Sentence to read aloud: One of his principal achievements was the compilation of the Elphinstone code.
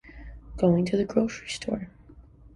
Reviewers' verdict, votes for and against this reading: rejected, 0, 2